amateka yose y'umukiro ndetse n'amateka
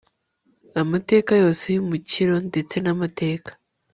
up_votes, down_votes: 2, 0